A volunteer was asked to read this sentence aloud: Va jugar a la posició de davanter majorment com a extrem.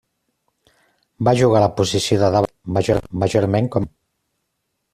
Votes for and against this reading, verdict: 0, 2, rejected